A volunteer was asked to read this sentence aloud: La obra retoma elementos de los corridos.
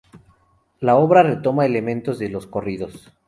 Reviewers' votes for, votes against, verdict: 2, 2, rejected